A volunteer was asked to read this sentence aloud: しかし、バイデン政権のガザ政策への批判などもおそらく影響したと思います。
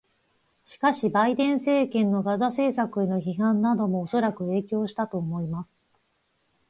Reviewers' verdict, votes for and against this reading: accepted, 4, 0